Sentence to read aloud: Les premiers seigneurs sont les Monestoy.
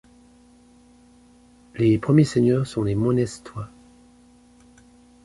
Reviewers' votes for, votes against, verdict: 2, 0, accepted